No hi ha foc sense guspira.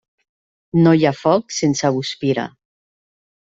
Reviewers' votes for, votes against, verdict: 2, 0, accepted